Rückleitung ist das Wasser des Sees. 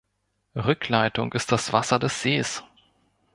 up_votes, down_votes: 2, 0